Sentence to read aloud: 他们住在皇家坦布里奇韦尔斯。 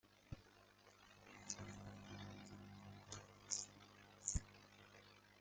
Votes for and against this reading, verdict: 0, 2, rejected